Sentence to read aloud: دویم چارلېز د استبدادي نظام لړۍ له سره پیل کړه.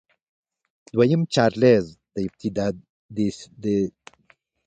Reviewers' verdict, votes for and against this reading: accepted, 2, 1